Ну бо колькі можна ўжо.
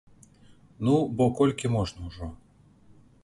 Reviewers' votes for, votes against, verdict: 2, 0, accepted